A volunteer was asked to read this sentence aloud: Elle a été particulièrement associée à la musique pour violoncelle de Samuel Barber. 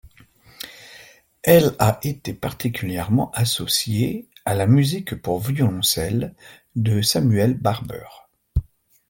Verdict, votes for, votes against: accepted, 2, 0